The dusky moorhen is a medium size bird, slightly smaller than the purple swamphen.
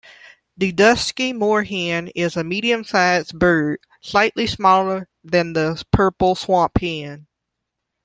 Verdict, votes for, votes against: accepted, 2, 0